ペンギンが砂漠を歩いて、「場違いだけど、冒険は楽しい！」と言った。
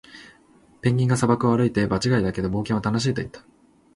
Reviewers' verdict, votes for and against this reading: accepted, 3, 0